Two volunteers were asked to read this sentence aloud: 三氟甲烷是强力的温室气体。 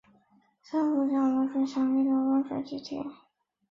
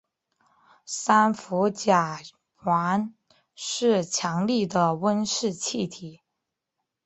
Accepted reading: second